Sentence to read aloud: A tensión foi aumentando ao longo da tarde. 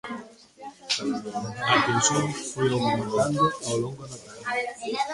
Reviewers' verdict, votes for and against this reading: rejected, 0, 2